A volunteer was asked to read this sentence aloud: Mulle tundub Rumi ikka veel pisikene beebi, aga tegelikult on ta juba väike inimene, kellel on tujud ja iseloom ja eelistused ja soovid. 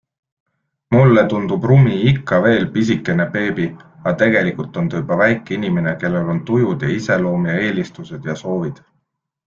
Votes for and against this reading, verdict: 2, 0, accepted